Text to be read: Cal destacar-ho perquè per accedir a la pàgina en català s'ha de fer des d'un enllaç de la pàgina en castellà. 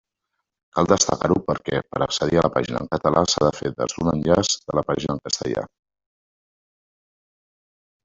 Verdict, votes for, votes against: rejected, 0, 2